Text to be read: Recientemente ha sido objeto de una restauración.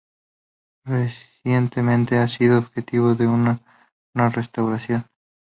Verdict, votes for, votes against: rejected, 0, 2